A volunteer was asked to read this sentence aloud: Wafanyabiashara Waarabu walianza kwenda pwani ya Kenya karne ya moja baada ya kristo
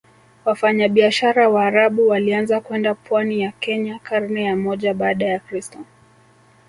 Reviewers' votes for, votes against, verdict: 2, 3, rejected